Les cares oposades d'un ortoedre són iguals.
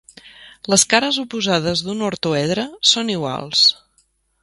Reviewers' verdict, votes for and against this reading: accepted, 2, 0